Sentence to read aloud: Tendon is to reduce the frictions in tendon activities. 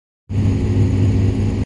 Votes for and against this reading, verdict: 0, 2, rejected